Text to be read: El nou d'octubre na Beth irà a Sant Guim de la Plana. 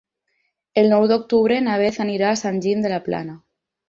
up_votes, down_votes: 0, 4